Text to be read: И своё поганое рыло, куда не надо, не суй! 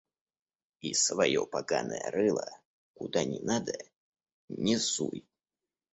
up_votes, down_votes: 2, 0